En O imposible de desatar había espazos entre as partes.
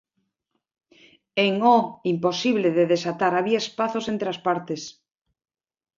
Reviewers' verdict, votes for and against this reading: accepted, 3, 0